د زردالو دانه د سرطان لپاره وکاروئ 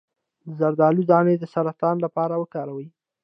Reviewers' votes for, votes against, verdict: 2, 0, accepted